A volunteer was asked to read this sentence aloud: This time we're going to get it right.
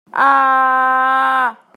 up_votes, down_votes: 0, 2